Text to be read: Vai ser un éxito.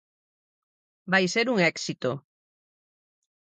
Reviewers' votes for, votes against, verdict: 4, 0, accepted